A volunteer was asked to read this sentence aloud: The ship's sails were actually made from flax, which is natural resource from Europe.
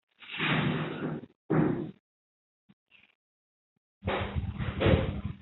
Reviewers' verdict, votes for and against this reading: rejected, 0, 2